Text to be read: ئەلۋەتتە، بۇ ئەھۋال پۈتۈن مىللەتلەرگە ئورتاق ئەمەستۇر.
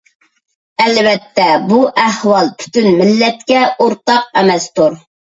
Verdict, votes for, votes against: rejected, 2, 3